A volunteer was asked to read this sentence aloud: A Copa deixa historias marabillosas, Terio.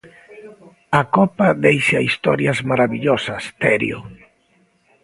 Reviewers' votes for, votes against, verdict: 1, 2, rejected